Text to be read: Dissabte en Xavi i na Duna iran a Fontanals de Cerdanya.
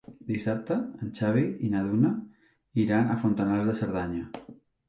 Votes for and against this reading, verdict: 3, 0, accepted